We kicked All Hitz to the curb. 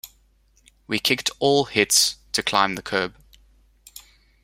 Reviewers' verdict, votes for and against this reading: rejected, 0, 2